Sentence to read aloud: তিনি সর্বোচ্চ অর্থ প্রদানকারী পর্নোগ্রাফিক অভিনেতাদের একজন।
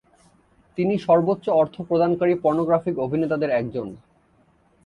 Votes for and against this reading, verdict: 2, 0, accepted